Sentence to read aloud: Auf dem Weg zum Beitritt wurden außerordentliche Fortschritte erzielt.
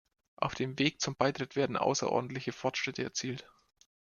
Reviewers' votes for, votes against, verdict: 2, 0, accepted